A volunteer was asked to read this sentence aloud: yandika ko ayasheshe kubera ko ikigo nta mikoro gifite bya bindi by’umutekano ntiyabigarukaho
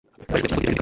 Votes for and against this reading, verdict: 1, 2, rejected